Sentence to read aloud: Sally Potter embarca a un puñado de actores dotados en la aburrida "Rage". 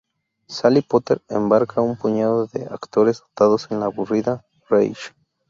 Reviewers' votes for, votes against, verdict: 0, 2, rejected